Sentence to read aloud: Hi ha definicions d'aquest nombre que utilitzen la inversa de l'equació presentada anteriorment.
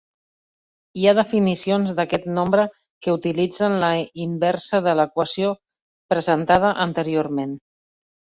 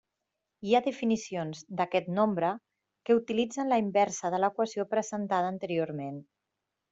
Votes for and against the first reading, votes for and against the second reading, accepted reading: 3, 0, 1, 2, first